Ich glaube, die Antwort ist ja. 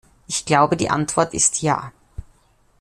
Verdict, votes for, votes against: accepted, 2, 0